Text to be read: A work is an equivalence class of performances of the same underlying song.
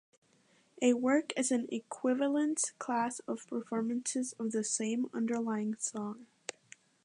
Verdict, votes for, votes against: accepted, 2, 0